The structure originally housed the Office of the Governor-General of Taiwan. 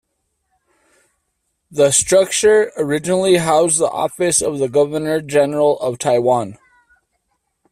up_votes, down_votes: 2, 0